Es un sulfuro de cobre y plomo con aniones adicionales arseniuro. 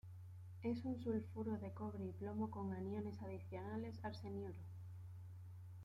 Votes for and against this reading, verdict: 0, 2, rejected